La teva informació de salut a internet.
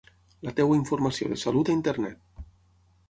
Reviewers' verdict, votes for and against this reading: accepted, 6, 3